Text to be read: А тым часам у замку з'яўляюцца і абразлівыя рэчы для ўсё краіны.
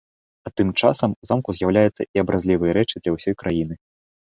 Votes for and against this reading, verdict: 1, 2, rejected